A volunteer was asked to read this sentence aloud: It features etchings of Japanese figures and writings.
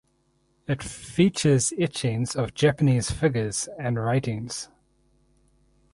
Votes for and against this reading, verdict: 2, 2, rejected